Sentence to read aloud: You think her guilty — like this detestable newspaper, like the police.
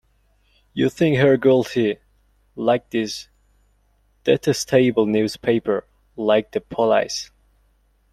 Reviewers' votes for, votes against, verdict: 0, 2, rejected